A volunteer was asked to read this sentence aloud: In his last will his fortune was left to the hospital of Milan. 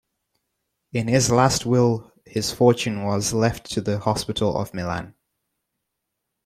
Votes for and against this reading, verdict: 2, 1, accepted